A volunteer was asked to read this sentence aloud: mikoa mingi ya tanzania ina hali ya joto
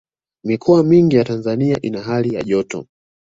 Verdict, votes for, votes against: accepted, 2, 0